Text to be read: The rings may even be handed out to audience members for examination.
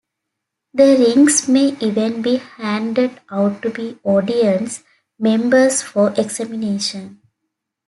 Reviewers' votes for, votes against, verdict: 1, 2, rejected